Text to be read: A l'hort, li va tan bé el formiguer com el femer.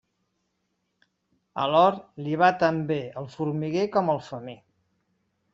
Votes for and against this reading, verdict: 2, 0, accepted